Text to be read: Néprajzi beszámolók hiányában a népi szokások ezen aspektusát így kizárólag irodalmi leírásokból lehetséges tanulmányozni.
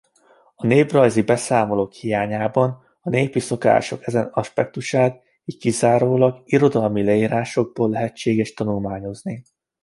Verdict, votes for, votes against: accepted, 2, 1